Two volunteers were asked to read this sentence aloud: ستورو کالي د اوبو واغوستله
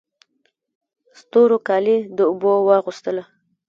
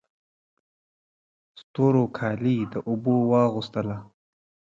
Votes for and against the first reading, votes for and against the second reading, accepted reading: 1, 2, 2, 1, second